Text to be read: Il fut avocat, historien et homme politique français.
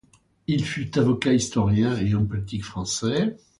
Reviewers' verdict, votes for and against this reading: accepted, 2, 0